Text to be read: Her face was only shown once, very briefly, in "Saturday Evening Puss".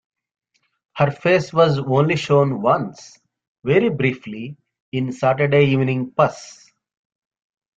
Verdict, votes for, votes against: rejected, 1, 2